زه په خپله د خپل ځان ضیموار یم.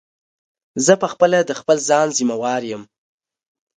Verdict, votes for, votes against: accepted, 2, 0